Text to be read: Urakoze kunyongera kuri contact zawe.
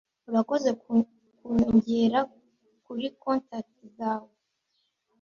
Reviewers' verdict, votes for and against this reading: rejected, 1, 2